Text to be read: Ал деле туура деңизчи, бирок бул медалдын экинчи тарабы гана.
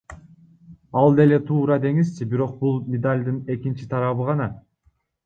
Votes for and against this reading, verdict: 0, 2, rejected